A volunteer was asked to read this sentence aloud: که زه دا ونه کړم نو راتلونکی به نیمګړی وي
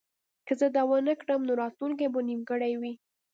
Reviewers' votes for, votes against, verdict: 3, 1, accepted